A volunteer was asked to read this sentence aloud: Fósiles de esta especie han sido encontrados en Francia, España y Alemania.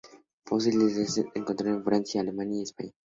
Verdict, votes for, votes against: rejected, 0, 2